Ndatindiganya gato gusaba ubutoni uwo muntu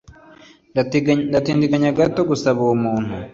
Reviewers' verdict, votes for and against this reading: rejected, 1, 2